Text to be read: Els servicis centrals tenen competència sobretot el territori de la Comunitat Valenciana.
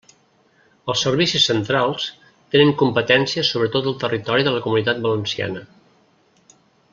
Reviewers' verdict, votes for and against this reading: accepted, 3, 1